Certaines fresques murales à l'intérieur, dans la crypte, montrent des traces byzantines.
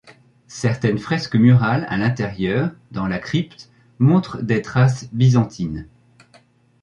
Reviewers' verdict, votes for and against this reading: accepted, 2, 0